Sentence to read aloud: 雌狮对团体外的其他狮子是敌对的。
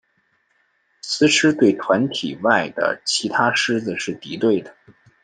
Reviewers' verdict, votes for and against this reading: accepted, 2, 0